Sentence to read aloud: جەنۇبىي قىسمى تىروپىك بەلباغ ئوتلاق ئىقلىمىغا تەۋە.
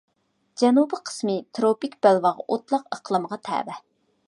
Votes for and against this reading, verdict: 2, 0, accepted